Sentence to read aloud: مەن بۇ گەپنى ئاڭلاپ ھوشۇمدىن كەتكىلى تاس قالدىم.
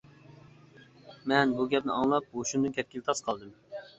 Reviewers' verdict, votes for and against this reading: accepted, 2, 0